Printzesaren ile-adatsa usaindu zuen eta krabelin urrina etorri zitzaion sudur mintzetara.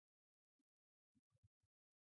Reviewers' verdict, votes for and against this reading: rejected, 0, 4